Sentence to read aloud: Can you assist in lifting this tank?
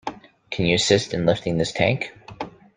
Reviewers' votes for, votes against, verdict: 2, 0, accepted